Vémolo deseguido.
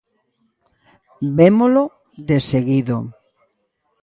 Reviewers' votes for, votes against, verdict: 2, 0, accepted